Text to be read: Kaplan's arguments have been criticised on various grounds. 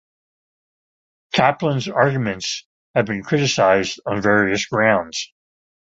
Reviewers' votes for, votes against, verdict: 2, 0, accepted